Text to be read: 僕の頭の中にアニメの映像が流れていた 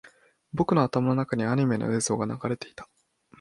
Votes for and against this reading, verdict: 2, 0, accepted